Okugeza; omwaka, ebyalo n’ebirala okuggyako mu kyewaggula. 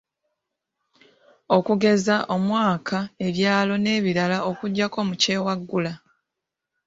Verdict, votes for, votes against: accepted, 2, 0